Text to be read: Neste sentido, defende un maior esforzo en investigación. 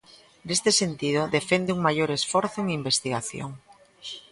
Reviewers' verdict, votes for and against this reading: accepted, 2, 1